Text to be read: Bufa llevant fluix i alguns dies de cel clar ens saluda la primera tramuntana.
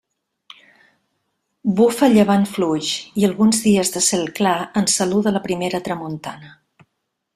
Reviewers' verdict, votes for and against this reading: accepted, 2, 0